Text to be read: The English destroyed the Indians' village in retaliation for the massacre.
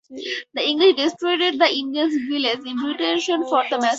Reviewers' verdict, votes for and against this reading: rejected, 0, 4